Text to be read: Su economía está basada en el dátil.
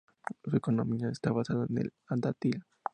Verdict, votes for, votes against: rejected, 0, 4